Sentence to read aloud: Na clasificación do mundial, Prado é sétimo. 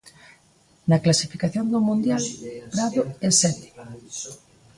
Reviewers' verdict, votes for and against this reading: accepted, 2, 1